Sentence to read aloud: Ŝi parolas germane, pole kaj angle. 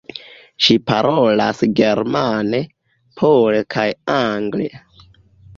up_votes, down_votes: 0, 2